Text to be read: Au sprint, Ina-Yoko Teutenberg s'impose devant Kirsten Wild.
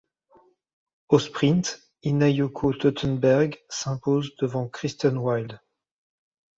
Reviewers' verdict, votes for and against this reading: rejected, 1, 2